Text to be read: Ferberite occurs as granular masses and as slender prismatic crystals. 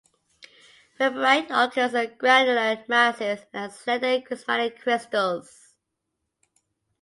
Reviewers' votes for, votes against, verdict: 1, 2, rejected